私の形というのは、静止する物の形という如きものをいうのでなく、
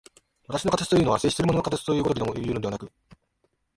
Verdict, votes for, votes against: rejected, 2, 2